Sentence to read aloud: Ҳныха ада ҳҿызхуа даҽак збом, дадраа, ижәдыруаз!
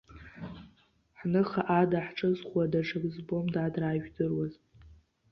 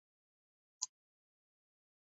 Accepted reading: first